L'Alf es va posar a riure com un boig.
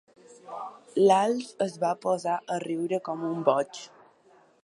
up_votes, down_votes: 2, 0